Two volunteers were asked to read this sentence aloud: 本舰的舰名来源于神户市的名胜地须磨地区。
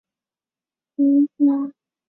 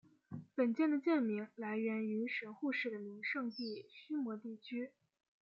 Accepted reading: second